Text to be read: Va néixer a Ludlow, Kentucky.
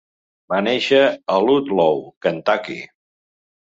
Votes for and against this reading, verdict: 2, 0, accepted